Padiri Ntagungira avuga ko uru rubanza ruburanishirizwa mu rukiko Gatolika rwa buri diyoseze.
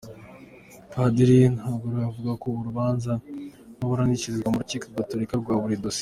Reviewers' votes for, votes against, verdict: 1, 2, rejected